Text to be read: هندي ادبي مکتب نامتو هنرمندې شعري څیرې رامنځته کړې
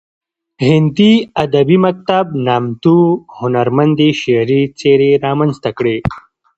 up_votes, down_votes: 1, 2